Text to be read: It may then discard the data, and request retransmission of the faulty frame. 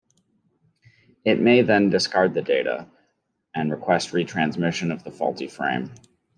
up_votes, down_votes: 2, 0